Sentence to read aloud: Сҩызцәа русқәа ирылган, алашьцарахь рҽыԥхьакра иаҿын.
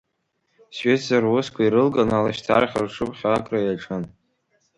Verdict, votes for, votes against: rejected, 1, 2